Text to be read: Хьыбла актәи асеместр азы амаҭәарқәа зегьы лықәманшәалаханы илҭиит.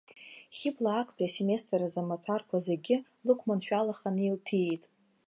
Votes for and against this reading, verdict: 2, 0, accepted